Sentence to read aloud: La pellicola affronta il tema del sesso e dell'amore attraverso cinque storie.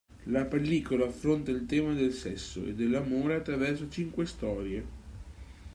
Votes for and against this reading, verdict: 2, 0, accepted